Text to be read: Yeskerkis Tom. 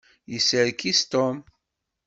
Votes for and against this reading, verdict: 1, 2, rejected